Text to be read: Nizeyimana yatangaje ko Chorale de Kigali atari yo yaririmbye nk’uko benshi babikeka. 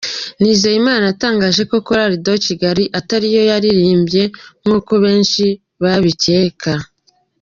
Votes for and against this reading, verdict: 2, 0, accepted